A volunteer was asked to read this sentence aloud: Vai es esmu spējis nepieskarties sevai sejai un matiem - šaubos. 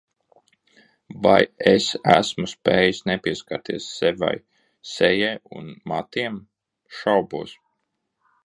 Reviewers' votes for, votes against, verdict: 0, 2, rejected